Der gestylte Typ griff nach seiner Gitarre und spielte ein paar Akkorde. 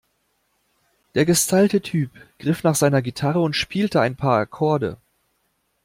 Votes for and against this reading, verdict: 2, 0, accepted